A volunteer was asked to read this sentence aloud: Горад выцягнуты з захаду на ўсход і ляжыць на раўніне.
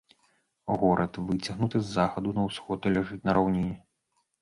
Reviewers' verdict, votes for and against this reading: accepted, 3, 1